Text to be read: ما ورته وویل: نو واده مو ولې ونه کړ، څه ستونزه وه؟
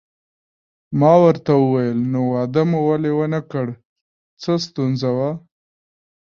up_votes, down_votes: 2, 1